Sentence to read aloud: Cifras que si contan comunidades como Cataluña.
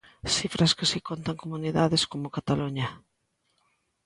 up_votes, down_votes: 2, 0